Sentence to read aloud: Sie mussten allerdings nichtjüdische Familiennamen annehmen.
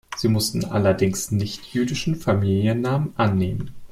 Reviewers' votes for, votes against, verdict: 1, 2, rejected